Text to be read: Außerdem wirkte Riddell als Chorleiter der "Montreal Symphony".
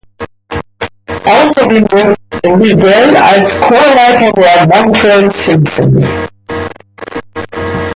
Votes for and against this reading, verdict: 2, 1, accepted